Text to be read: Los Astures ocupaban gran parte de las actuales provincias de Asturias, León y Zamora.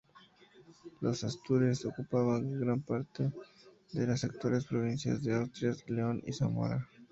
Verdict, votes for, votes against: rejected, 0, 4